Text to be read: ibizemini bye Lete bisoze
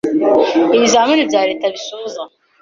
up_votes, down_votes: 0, 3